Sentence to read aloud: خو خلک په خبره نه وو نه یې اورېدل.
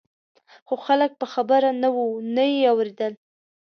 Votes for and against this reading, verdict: 2, 0, accepted